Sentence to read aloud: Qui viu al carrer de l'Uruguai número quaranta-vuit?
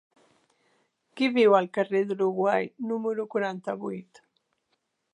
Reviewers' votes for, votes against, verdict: 3, 0, accepted